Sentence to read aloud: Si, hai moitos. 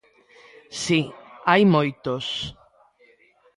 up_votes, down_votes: 2, 0